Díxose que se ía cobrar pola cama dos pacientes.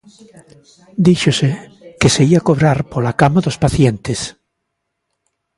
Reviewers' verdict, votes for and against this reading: accepted, 2, 1